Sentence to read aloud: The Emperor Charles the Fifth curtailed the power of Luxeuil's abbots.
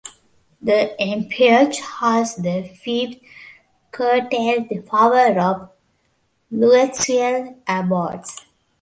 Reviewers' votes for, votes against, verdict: 0, 2, rejected